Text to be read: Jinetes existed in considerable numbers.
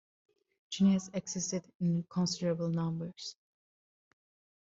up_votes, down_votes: 2, 0